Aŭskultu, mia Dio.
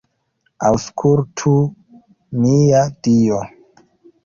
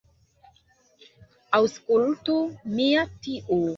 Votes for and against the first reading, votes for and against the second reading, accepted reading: 2, 0, 1, 2, first